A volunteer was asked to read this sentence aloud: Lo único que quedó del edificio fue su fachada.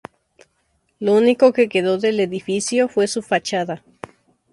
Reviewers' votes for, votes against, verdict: 2, 0, accepted